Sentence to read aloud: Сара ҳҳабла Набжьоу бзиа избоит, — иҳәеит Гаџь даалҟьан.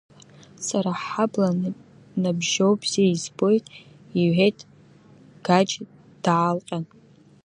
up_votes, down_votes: 1, 2